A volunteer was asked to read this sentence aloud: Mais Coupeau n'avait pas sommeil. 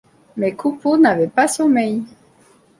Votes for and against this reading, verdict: 2, 0, accepted